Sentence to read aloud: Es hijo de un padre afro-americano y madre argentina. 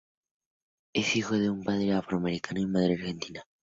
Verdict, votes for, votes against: rejected, 2, 2